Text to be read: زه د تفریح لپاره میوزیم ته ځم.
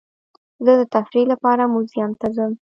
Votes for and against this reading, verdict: 1, 2, rejected